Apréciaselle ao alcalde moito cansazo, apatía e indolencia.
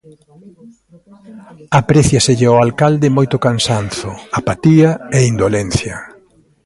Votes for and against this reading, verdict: 1, 2, rejected